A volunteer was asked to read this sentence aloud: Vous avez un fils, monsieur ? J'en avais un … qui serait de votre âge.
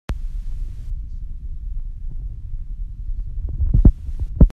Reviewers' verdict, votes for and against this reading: rejected, 0, 2